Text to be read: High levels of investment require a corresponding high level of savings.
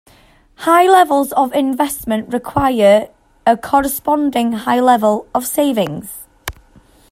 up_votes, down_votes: 2, 0